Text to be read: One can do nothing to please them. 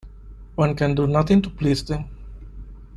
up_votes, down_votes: 2, 1